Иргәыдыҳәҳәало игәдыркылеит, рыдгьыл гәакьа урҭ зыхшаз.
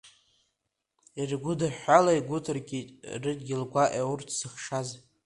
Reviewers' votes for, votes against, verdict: 2, 1, accepted